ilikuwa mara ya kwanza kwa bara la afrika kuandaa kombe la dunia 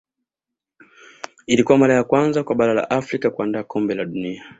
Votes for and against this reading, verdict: 2, 0, accepted